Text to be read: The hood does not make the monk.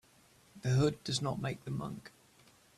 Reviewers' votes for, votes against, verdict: 3, 0, accepted